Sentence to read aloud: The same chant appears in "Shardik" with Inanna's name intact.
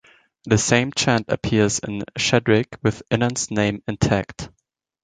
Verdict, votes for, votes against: accepted, 2, 0